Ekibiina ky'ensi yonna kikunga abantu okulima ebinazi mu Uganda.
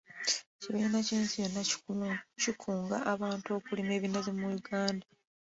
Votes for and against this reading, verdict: 2, 1, accepted